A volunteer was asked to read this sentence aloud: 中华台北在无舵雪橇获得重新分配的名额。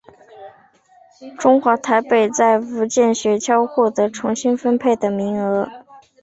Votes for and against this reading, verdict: 0, 2, rejected